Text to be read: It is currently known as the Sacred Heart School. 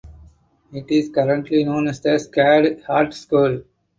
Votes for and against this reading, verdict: 0, 4, rejected